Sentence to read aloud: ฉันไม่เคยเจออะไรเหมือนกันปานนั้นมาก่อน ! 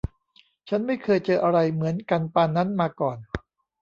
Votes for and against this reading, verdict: 1, 2, rejected